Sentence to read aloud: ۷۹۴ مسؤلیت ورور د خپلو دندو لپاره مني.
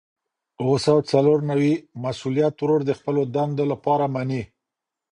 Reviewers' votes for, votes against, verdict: 0, 2, rejected